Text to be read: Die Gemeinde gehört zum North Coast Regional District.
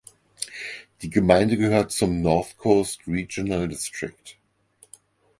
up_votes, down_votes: 4, 0